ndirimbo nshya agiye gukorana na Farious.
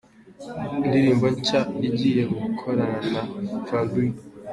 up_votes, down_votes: 1, 2